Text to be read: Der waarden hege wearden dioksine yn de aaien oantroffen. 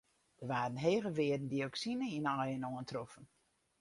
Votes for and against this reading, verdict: 4, 0, accepted